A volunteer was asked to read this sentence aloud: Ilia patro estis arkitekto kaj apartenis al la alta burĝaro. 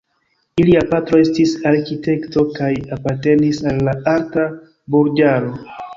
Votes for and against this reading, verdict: 1, 2, rejected